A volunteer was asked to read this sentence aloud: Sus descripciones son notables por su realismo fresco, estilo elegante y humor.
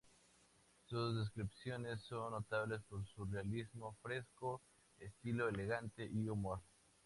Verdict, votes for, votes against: rejected, 0, 2